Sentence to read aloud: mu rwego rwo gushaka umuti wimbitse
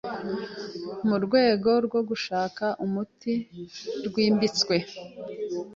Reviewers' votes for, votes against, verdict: 1, 2, rejected